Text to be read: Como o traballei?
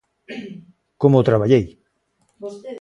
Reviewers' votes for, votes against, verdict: 1, 2, rejected